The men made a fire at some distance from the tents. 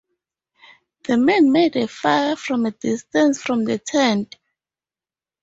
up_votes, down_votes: 0, 4